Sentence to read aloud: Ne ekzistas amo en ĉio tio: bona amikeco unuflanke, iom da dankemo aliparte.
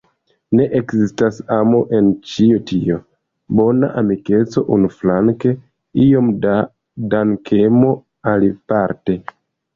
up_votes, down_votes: 2, 0